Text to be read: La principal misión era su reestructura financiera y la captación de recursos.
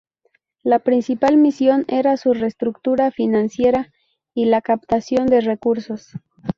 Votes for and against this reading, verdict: 0, 2, rejected